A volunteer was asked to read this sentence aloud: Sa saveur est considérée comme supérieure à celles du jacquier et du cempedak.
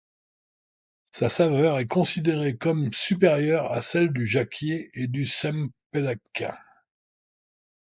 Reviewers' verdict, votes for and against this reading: rejected, 1, 2